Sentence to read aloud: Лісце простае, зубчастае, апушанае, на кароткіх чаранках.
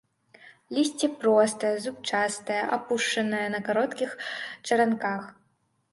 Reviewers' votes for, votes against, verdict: 2, 0, accepted